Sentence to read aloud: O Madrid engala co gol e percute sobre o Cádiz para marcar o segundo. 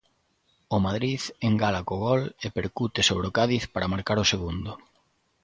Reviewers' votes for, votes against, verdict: 2, 0, accepted